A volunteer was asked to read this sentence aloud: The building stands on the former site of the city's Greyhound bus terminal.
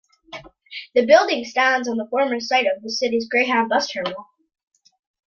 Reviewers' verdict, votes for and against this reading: accepted, 2, 0